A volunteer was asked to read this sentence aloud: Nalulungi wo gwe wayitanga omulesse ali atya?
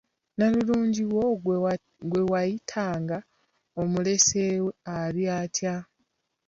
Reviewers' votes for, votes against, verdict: 1, 2, rejected